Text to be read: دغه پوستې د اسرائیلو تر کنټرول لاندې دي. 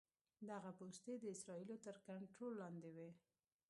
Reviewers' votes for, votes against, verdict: 1, 2, rejected